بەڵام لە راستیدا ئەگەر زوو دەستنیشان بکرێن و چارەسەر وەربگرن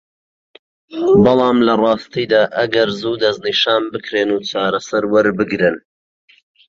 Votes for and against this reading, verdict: 2, 1, accepted